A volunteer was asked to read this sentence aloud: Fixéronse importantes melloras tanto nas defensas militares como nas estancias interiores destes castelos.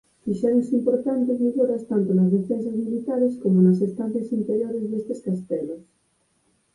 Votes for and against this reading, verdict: 4, 2, accepted